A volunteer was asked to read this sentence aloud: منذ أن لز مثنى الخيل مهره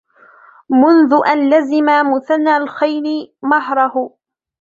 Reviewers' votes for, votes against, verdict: 1, 2, rejected